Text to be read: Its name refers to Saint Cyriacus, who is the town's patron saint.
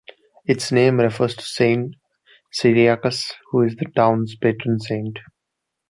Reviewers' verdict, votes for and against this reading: rejected, 1, 2